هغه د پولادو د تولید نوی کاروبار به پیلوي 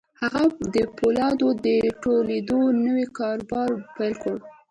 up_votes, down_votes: 2, 1